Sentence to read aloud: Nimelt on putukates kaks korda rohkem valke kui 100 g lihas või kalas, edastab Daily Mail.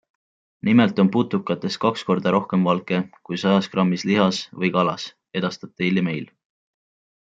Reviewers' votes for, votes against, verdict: 0, 2, rejected